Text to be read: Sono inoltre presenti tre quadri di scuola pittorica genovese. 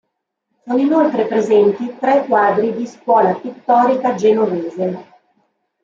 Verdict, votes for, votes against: rejected, 0, 2